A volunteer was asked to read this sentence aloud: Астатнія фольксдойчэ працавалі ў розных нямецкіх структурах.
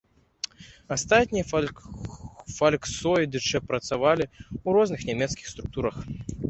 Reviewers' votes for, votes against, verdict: 0, 3, rejected